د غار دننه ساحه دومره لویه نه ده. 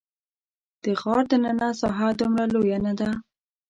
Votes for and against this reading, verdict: 0, 2, rejected